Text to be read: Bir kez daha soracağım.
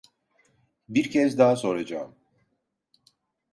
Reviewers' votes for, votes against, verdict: 2, 0, accepted